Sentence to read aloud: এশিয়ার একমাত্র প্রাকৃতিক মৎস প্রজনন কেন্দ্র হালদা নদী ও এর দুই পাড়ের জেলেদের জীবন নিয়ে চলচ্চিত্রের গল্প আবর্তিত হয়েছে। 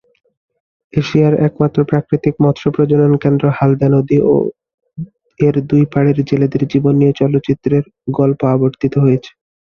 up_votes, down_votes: 3, 0